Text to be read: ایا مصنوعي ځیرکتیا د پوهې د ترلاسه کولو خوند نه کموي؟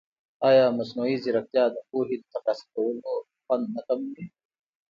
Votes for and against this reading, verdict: 2, 0, accepted